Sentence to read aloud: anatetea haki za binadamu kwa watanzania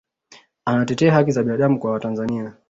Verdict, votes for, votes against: rejected, 1, 2